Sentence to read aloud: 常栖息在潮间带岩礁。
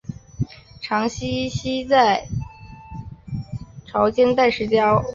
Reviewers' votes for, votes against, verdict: 0, 2, rejected